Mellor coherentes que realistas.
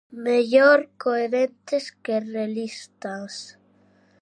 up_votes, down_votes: 2, 0